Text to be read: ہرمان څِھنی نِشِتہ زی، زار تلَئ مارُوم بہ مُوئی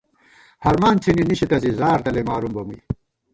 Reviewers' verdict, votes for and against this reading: rejected, 1, 2